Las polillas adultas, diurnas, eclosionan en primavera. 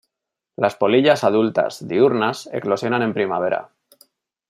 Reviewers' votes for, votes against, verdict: 2, 0, accepted